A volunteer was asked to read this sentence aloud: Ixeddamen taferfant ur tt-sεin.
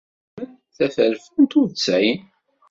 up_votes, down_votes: 0, 2